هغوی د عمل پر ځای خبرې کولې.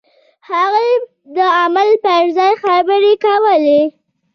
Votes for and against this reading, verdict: 2, 0, accepted